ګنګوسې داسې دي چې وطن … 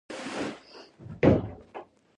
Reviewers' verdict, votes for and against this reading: rejected, 0, 2